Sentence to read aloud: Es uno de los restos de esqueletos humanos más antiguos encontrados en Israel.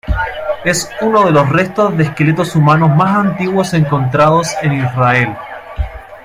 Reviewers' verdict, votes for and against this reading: accepted, 2, 0